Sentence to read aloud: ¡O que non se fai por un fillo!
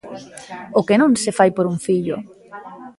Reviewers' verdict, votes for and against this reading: rejected, 1, 2